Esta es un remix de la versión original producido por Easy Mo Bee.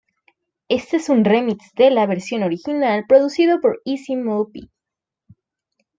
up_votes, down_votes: 1, 2